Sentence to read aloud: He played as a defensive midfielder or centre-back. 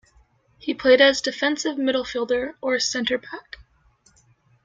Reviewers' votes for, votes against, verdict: 0, 2, rejected